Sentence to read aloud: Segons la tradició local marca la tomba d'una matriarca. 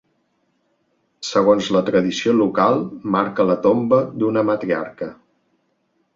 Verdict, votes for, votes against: accepted, 2, 0